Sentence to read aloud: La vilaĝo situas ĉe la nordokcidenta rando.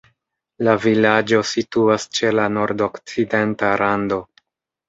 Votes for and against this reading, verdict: 2, 0, accepted